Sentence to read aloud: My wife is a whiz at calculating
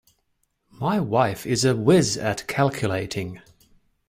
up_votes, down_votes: 2, 0